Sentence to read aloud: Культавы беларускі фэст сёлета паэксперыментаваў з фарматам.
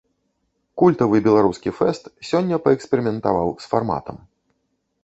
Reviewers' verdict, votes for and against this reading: rejected, 1, 2